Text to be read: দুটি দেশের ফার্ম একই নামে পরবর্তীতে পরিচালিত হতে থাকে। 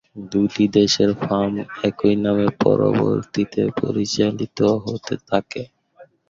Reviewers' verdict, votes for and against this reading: rejected, 0, 2